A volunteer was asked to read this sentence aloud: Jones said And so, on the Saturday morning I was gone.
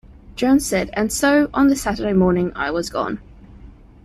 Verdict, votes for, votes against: accepted, 2, 0